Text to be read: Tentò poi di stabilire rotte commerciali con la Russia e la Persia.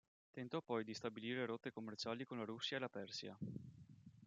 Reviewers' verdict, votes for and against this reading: rejected, 0, 2